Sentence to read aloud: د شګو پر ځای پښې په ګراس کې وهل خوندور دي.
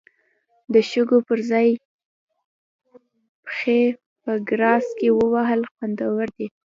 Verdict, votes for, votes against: rejected, 0, 2